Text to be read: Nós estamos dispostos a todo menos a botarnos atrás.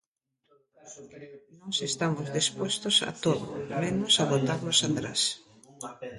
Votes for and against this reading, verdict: 1, 2, rejected